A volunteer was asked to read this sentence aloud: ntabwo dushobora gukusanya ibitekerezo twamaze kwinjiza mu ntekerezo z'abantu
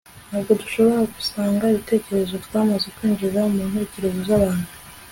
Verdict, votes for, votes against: accepted, 2, 0